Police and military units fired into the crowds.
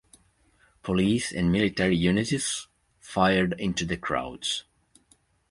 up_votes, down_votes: 1, 2